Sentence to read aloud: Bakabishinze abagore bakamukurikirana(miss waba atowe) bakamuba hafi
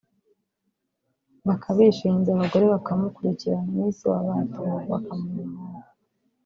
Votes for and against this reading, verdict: 0, 3, rejected